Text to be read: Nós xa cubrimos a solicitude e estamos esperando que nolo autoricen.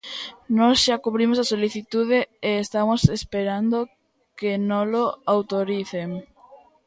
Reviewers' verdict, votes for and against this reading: rejected, 1, 2